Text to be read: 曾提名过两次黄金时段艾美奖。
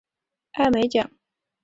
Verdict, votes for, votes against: rejected, 0, 2